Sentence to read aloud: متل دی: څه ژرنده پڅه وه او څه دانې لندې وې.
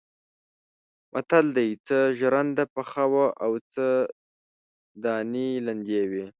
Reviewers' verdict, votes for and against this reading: rejected, 1, 2